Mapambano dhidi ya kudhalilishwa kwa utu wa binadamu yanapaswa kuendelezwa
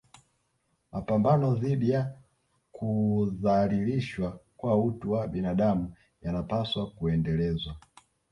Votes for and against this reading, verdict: 2, 1, accepted